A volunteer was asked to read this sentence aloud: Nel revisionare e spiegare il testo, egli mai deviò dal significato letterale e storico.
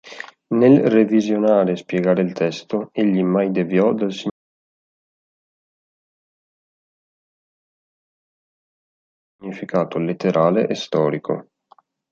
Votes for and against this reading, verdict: 0, 2, rejected